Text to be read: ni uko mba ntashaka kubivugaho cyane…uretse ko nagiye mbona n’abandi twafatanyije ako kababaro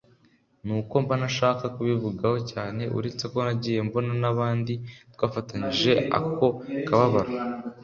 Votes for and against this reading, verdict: 2, 0, accepted